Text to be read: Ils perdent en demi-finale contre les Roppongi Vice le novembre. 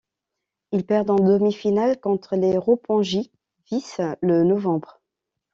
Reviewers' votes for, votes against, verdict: 0, 2, rejected